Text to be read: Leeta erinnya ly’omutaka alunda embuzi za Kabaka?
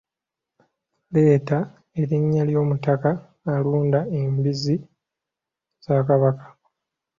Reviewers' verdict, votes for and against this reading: accepted, 2, 0